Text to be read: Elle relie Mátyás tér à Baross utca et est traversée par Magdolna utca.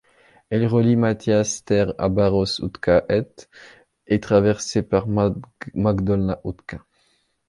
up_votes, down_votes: 0, 2